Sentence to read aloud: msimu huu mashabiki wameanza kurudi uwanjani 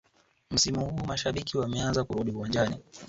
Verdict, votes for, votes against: rejected, 3, 4